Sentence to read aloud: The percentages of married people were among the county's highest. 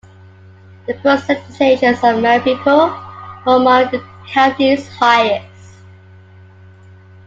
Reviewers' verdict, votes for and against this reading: rejected, 1, 2